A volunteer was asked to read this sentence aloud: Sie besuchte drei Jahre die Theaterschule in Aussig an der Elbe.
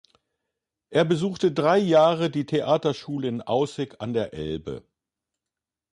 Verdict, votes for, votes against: rejected, 0, 2